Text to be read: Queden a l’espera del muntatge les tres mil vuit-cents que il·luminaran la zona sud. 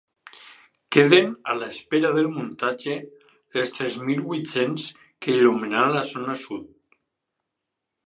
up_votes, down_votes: 4, 0